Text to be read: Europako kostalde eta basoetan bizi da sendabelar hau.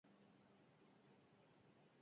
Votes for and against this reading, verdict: 0, 4, rejected